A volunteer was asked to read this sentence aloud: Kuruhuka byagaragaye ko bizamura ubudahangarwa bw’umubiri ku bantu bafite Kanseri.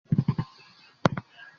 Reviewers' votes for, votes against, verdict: 0, 2, rejected